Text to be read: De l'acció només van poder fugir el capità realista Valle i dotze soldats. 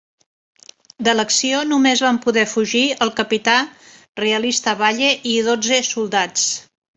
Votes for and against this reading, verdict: 2, 0, accepted